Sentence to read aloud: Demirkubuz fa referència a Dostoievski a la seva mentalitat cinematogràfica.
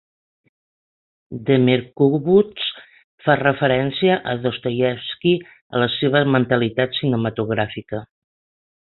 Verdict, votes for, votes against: accepted, 6, 0